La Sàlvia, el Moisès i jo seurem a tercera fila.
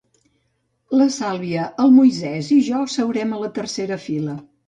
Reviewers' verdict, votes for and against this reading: rejected, 0, 2